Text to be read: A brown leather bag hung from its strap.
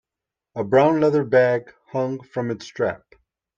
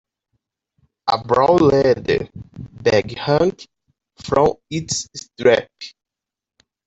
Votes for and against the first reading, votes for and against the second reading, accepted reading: 2, 0, 0, 2, first